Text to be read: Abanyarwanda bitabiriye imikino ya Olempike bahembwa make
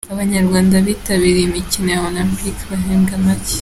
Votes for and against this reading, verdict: 2, 0, accepted